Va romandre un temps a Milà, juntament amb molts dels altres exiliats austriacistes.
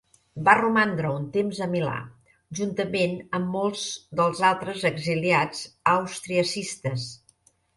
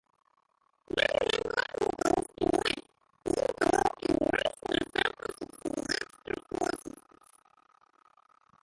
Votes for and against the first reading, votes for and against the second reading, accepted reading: 3, 0, 0, 2, first